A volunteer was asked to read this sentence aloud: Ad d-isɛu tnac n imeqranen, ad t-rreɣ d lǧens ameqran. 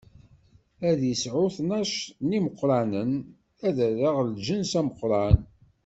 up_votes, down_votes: 1, 2